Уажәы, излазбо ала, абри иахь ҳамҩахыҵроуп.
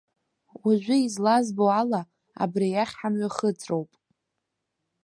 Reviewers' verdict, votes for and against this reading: accepted, 2, 0